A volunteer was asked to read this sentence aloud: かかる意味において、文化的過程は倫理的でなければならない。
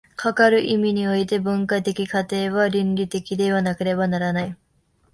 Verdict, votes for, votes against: rejected, 1, 2